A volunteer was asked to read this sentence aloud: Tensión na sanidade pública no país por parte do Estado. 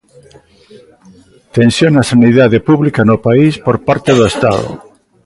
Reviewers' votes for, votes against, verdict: 2, 0, accepted